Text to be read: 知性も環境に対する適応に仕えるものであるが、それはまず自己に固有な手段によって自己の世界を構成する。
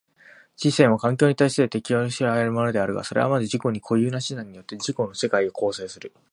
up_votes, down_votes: 0, 2